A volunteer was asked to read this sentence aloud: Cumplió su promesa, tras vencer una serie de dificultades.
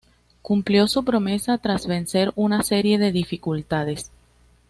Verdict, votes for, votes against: accepted, 2, 0